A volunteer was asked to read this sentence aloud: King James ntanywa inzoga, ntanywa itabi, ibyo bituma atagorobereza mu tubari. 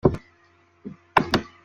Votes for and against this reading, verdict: 0, 2, rejected